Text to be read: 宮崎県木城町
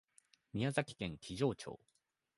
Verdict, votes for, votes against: accepted, 2, 0